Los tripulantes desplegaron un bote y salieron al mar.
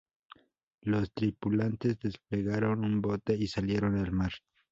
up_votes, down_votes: 2, 0